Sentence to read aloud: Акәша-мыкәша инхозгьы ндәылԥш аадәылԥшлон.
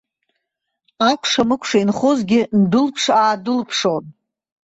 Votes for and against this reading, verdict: 1, 2, rejected